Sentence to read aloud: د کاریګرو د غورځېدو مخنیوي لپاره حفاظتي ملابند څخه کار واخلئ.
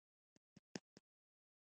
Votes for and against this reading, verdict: 1, 2, rejected